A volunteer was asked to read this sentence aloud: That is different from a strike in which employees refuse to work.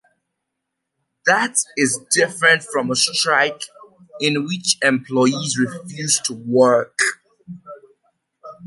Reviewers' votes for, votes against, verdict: 0, 2, rejected